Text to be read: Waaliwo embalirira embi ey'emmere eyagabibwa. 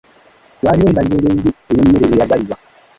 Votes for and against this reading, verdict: 0, 2, rejected